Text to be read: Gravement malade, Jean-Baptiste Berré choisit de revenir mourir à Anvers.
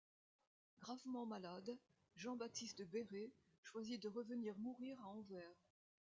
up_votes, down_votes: 0, 2